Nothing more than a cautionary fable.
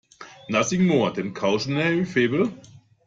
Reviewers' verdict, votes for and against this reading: rejected, 0, 2